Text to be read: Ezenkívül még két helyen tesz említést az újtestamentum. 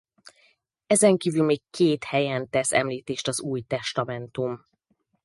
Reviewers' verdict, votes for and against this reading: accepted, 4, 0